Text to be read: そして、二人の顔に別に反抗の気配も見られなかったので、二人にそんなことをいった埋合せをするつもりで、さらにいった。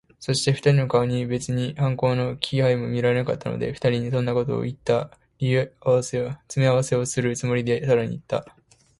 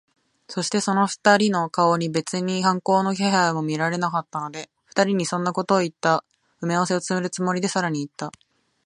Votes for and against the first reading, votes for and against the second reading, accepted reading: 0, 2, 2, 0, second